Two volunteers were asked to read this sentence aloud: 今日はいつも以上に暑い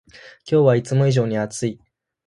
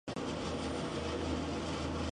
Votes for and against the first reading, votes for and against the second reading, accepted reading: 44, 0, 0, 3, first